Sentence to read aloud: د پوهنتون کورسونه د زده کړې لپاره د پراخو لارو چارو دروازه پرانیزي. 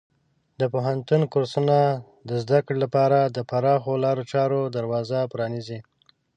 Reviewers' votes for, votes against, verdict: 2, 0, accepted